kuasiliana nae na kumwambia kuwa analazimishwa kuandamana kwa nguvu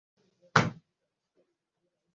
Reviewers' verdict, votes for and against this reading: rejected, 0, 2